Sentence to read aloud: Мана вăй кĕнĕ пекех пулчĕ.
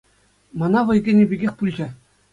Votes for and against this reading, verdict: 2, 0, accepted